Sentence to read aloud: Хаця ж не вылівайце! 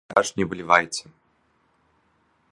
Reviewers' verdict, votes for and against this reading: rejected, 0, 2